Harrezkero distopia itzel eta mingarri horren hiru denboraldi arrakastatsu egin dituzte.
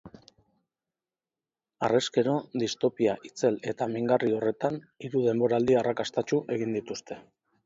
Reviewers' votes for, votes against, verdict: 0, 4, rejected